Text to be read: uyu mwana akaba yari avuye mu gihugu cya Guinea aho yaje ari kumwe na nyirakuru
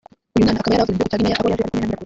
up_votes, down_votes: 0, 2